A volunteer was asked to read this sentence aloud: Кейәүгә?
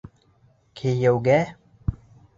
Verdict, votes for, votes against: accepted, 2, 0